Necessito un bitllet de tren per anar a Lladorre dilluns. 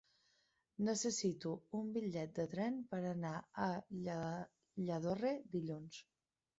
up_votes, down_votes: 0, 2